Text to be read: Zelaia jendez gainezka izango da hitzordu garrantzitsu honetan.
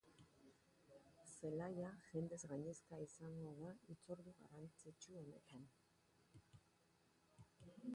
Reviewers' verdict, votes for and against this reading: rejected, 0, 2